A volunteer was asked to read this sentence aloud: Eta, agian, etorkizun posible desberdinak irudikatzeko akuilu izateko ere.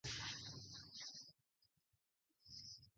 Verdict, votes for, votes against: rejected, 0, 2